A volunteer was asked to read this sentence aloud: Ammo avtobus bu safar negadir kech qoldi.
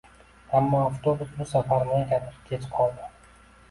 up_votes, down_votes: 1, 2